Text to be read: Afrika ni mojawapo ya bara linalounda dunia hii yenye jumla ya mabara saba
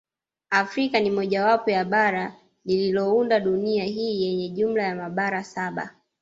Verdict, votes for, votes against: rejected, 1, 2